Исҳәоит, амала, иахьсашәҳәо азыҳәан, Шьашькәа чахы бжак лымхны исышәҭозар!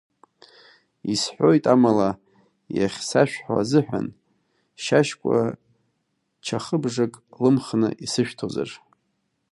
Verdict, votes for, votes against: rejected, 0, 2